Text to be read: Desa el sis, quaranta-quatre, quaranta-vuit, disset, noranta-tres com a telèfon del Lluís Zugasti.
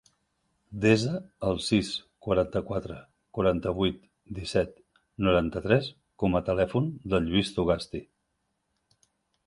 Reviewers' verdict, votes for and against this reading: accepted, 3, 0